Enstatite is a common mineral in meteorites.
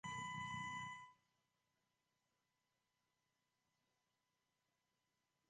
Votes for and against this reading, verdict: 0, 2, rejected